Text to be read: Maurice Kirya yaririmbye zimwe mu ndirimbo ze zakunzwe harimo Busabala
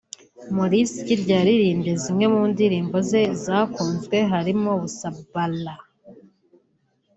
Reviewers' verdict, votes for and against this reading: accepted, 4, 3